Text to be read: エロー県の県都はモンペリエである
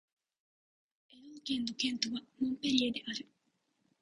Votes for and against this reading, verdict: 1, 2, rejected